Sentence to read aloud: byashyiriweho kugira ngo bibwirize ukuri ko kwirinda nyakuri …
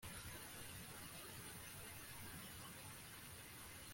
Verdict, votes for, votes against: rejected, 0, 2